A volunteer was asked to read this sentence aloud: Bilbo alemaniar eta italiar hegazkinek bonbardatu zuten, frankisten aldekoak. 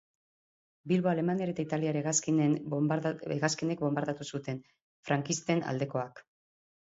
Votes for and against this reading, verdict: 0, 2, rejected